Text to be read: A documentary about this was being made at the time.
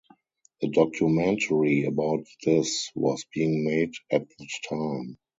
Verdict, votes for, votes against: rejected, 0, 4